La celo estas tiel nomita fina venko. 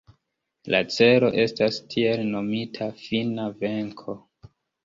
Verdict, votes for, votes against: accepted, 2, 0